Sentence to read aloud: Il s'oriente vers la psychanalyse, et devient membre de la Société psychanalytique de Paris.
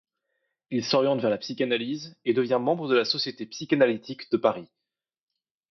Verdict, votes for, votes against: accepted, 2, 0